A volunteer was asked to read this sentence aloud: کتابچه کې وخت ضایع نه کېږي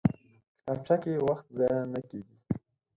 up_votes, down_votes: 2, 4